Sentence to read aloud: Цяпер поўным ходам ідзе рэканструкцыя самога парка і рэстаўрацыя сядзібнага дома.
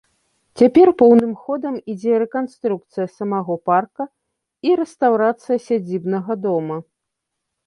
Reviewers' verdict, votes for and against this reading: rejected, 0, 2